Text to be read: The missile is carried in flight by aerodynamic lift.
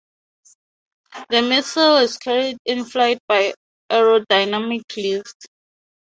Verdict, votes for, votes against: accepted, 2, 0